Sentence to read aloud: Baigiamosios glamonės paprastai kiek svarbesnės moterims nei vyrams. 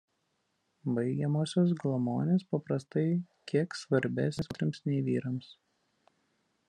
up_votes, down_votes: 0, 2